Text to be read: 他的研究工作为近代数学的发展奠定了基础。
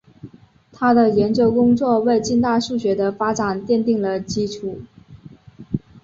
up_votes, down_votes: 4, 0